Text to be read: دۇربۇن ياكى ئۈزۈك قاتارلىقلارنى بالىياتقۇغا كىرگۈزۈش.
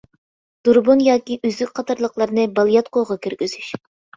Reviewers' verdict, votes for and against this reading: accepted, 2, 0